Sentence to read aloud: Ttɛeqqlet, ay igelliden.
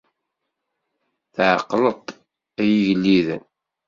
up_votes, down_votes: 1, 2